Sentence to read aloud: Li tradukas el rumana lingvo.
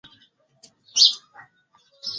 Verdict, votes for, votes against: rejected, 2, 3